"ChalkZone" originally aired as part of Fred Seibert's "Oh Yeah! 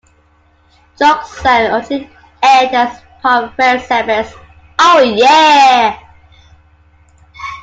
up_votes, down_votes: 0, 2